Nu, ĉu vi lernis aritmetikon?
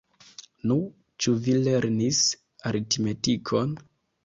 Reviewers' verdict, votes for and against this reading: rejected, 0, 2